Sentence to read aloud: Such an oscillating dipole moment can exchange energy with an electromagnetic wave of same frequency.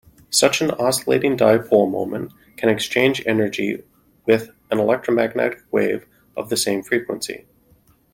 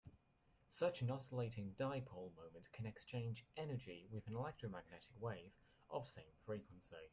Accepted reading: second